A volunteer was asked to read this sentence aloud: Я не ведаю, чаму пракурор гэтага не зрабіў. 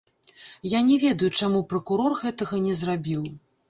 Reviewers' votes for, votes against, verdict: 1, 3, rejected